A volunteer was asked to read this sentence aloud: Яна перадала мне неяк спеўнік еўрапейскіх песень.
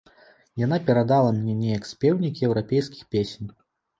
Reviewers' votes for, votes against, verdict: 0, 2, rejected